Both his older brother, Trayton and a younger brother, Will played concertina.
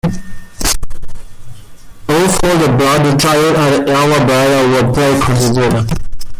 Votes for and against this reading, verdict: 0, 2, rejected